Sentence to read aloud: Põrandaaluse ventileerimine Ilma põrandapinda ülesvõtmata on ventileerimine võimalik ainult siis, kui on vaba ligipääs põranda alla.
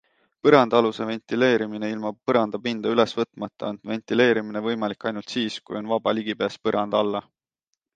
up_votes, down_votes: 2, 0